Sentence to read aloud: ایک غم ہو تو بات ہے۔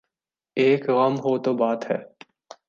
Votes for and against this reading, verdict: 2, 0, accepted